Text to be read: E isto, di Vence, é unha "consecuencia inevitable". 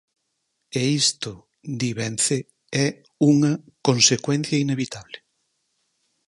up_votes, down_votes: 6, 0